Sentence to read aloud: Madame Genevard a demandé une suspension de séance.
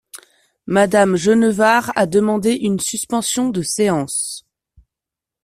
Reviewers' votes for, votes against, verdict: 2, 0, accepted